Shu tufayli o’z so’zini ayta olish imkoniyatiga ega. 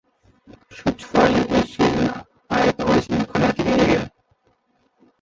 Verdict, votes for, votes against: rejected, 1, 2